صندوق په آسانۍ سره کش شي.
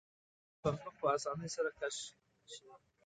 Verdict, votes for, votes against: rejected, 1, 2